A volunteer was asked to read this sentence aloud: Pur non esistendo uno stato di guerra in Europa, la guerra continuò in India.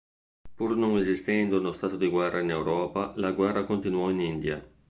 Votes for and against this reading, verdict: 1, 2, rejected